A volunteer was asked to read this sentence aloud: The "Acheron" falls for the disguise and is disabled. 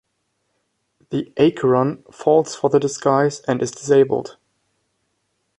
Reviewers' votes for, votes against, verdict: 1, 2, rejected